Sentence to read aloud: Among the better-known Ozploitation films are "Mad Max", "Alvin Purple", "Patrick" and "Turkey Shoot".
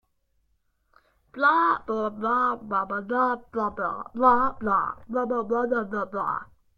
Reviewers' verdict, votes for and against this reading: rejected, 0, 2